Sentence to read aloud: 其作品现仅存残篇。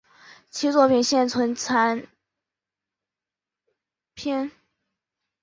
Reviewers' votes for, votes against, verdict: 1, 2, rejected